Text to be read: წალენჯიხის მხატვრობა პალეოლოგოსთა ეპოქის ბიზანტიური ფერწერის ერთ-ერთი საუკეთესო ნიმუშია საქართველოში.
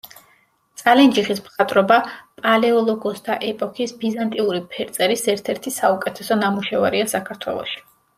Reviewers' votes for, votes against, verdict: 0, 2, rejected